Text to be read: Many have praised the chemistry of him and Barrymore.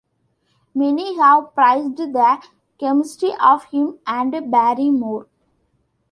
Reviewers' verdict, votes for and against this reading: accepted, 2, 0